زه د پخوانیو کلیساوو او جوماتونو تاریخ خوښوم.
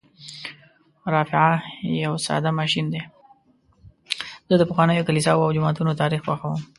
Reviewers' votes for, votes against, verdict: 1, 2, rejected